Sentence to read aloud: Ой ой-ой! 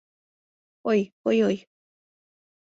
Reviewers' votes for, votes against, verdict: 2, 0, accepted